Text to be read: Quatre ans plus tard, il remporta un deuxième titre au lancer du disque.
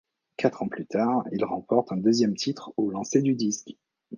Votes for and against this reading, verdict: 1, 2, rejected